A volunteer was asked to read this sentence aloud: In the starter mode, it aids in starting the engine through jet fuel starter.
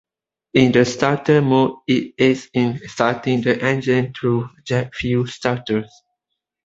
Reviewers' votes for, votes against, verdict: 2, 0, accepted